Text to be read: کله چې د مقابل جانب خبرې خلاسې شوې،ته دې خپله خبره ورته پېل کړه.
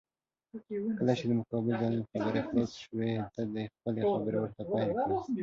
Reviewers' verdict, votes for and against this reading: rejected, 2, 4